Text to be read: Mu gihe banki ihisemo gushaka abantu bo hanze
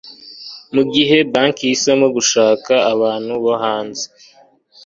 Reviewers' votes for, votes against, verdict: 2, 0, accepted